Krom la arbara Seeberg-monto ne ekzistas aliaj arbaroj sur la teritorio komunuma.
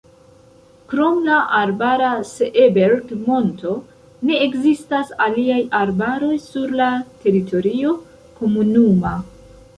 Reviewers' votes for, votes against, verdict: 1, 2, rejected